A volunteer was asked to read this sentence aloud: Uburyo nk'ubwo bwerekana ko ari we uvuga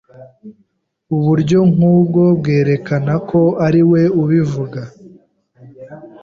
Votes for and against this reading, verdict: 2, 0, accepted